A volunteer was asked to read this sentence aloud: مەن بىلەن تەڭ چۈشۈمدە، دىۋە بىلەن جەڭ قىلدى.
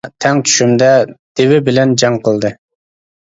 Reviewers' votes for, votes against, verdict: 0, 2, rejected